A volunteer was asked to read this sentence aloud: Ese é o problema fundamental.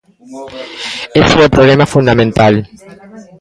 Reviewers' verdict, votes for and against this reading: accepted, 2, 0